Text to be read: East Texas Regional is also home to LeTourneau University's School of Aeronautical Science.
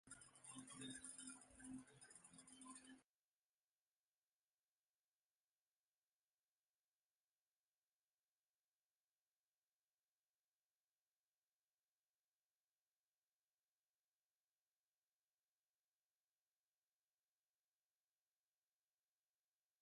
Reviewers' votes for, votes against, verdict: 0, 2, rejected